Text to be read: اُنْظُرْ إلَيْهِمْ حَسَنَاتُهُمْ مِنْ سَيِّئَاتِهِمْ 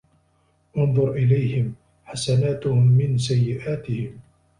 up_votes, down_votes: 2, 0